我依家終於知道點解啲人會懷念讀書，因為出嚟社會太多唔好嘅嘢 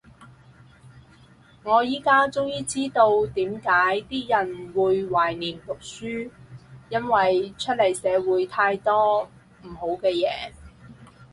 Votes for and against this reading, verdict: 4, 0, accepted